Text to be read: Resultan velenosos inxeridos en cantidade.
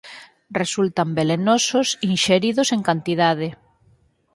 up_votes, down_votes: 0, 4